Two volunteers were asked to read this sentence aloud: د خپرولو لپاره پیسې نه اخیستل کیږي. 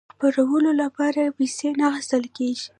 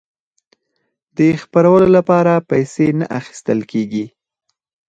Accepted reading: second